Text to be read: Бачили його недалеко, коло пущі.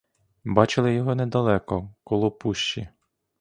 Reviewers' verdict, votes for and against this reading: accepted, 2, 0